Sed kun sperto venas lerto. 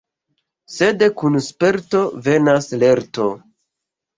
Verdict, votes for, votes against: accepted, 2, 0